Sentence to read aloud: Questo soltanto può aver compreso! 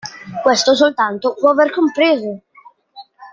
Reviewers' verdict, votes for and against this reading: accepted, 2, 1